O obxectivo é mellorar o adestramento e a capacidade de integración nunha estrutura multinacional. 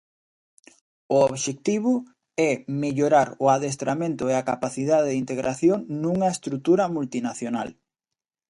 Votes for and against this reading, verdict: 2, 0, accepted